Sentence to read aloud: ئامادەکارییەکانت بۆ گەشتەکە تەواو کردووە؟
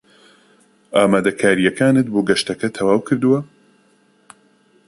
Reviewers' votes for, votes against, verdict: 2, 0, accepted